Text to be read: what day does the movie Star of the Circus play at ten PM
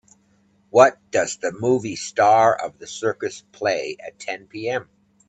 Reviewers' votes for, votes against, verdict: 0, 2, rejected